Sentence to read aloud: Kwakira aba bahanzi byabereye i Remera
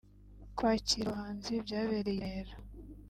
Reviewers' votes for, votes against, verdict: 2, 0, accepted